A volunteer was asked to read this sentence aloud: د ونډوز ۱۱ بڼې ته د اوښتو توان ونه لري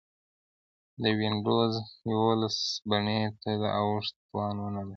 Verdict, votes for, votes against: rejected, 0, 2